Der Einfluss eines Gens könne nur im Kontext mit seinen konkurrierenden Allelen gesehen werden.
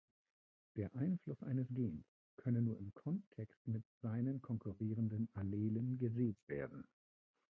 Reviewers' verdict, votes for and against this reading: rejected, 0, 2